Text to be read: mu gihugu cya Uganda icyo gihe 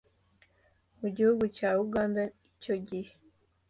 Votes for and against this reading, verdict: 2, 0, accepted